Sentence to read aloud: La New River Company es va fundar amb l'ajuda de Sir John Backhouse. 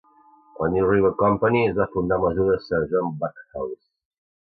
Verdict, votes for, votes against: rejected, 0, 2